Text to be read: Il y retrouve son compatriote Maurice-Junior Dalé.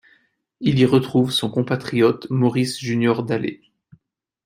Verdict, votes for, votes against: accepted, 2, 0